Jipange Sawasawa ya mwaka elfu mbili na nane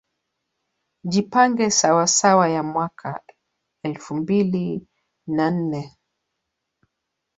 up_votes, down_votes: 1, 2